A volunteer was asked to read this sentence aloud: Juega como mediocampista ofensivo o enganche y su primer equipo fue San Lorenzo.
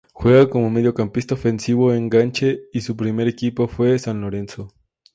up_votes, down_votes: 2, 0